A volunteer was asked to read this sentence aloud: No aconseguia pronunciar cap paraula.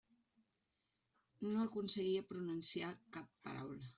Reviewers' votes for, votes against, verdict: 0, 2, rejected